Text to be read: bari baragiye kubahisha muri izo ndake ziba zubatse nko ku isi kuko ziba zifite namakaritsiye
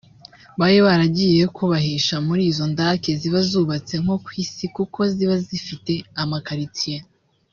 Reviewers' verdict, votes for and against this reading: rejected, 1, 2